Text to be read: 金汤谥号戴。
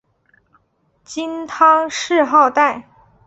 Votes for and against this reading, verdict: 2, 1, accepted